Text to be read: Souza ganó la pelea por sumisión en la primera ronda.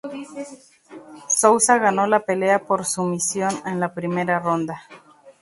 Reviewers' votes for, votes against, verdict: 0, 2, rejected